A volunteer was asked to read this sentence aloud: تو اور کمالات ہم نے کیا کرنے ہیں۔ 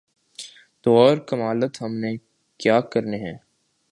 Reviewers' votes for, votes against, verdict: 0, 2, rejected